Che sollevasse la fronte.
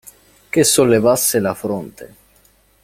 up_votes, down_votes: 2, 0